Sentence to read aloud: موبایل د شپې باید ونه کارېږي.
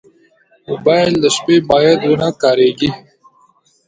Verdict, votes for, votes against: rejected, 0, 2